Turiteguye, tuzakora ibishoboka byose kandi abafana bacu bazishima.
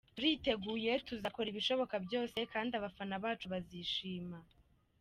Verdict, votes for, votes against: accepted, 2, 0